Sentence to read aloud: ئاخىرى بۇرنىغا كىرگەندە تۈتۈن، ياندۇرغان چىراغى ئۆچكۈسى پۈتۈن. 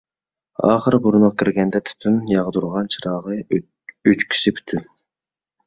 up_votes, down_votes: 1, 2